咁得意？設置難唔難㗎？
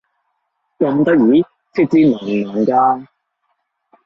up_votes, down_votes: 1, 2